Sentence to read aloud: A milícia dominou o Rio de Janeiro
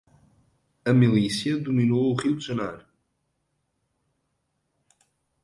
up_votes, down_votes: 1, 2